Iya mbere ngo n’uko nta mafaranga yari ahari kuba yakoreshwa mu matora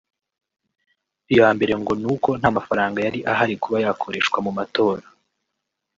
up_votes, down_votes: 1, 2